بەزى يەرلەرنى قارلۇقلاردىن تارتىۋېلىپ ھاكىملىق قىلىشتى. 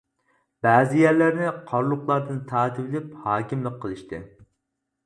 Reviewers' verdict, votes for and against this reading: accepted, 4, 0